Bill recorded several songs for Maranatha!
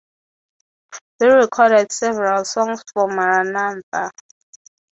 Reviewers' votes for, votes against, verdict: 0, 3, rejected